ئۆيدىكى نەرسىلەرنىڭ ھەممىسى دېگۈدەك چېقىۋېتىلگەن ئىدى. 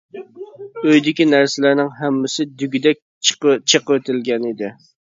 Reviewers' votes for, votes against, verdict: 0, 2, rejected